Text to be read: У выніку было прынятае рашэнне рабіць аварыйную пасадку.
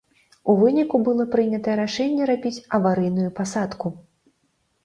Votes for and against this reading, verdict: 0, 2, rejected